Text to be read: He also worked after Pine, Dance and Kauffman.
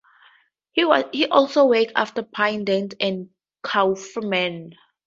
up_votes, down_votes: 2, 0